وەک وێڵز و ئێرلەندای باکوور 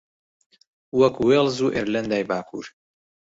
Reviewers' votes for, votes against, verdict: 0, 2, rejected